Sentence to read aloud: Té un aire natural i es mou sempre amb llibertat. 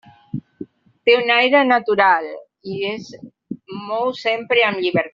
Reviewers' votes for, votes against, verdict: 0, 2, rejected